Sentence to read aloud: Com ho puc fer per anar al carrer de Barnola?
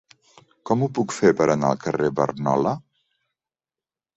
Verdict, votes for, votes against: rejected, 0, 2